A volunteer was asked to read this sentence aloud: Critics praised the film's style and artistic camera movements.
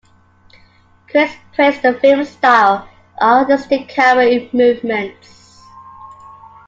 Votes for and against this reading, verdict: 2, 0, accepted